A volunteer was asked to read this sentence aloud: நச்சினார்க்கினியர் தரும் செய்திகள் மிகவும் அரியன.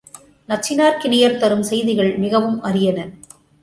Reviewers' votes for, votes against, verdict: 2, 0, accepted